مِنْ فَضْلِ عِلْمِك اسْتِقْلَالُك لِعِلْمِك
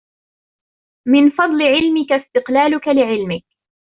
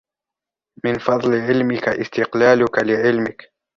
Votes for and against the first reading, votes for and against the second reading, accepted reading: 1, 2, 2, 1, second